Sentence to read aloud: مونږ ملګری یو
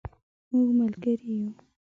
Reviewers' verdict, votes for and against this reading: accepted, 2, 0